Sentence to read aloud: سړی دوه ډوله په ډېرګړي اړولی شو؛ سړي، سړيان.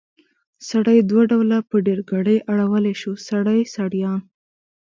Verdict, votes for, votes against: accepted, 2, 0